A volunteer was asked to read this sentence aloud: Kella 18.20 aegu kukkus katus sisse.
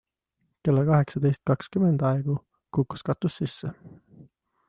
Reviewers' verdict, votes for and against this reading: rejected, 0, 2